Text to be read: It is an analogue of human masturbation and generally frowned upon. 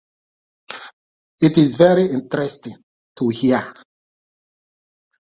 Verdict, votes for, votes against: rejected, 0, 2